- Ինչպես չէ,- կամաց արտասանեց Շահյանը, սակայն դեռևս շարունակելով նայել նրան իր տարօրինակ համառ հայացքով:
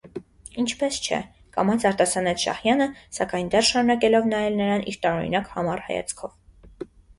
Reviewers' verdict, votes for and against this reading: accepted, 2, 0